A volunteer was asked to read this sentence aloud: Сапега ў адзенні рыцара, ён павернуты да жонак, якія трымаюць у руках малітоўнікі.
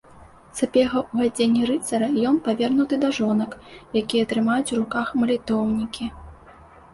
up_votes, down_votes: 2, 0